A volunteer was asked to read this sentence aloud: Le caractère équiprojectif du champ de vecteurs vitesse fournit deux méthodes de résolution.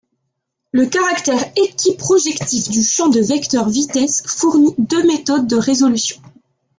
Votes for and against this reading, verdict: 3, 0, accepted